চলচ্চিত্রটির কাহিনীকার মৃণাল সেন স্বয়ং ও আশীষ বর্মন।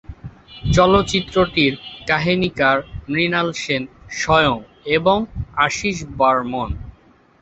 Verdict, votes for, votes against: rejected, 0, 2